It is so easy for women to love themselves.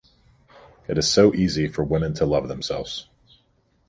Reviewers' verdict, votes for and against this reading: accepted, 2, 0